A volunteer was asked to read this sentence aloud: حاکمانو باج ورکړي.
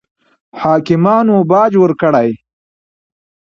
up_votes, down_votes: 2, 0